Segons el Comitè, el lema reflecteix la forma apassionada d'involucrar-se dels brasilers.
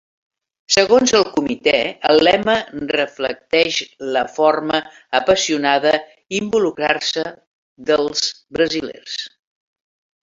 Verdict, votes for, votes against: rejected, 1, 2